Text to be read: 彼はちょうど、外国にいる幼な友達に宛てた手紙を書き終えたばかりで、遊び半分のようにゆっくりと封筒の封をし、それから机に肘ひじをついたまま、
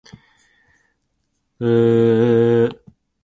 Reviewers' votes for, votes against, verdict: 2, 5, rejected